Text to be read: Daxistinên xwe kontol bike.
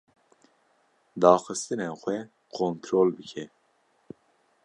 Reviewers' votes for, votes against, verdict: 2, 0, accepted